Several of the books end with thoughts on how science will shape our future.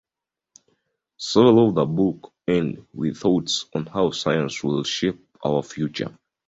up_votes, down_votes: 1, 2